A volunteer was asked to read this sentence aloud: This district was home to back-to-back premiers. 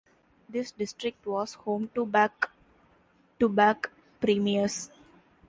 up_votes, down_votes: 1, 2